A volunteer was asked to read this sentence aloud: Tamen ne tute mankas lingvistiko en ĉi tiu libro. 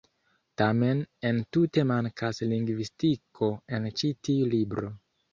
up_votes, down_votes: 1, 2